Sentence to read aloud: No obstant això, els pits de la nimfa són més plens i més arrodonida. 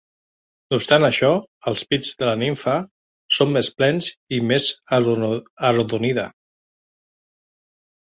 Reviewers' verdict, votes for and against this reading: rejected, 0, 3